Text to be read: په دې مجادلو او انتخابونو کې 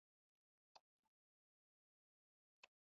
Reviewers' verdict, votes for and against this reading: rejected, 1, 2